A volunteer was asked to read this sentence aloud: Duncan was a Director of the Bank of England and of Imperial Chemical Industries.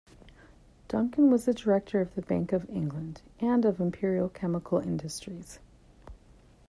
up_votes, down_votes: 2, 0